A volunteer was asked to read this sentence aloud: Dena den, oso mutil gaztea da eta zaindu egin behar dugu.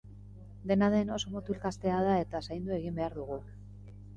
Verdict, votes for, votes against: accepted, 2, 0